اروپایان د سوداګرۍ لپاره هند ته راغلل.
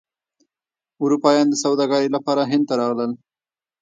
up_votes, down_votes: 1, 2